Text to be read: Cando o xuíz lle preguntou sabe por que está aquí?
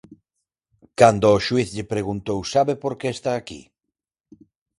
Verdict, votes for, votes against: accepted, 4, 0